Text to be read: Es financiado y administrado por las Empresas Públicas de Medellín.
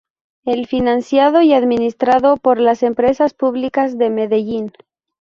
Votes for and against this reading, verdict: 0, 2, rejected